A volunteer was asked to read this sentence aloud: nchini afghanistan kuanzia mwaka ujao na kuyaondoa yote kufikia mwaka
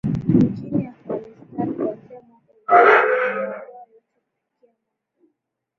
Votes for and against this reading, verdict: 1, 7, rejected